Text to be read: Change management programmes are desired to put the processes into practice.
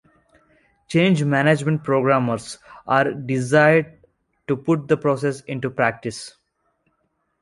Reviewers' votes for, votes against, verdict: 2, 1, accepted